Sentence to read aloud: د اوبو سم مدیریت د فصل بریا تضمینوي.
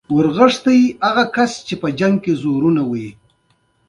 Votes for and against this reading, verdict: 2, 0, accepted